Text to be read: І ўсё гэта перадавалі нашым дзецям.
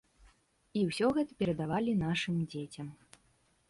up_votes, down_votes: 2, 0